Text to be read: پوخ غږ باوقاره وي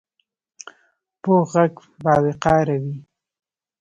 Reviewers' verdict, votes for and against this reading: rejected, 1, 2